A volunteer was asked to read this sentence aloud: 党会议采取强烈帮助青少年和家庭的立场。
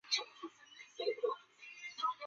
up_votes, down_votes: 0, 3